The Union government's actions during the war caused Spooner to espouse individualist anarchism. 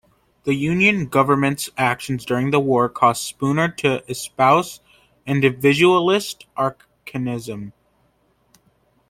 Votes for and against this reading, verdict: 0, 3, rejected